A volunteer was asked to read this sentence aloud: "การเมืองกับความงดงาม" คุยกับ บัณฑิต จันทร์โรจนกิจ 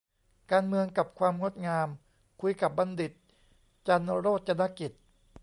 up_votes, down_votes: 2, 0